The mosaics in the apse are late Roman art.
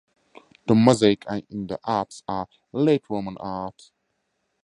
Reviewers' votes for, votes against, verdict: 0, 2, rejected